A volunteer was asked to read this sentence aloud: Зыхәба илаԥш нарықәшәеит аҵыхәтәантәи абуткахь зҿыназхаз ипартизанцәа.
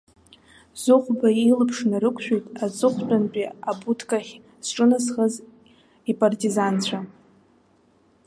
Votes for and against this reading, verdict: 1, 2, rejected